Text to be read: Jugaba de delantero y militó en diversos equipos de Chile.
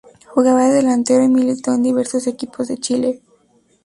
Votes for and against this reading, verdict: 2, 0, accepted